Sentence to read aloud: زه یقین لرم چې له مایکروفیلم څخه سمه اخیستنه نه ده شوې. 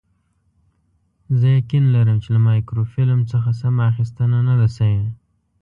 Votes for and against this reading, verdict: 2, 0, accepted